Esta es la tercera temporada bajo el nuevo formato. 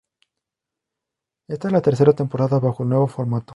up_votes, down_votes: 2, 2